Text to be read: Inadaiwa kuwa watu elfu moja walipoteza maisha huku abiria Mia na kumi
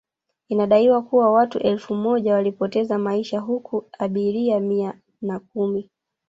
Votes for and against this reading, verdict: 1, 2, rejected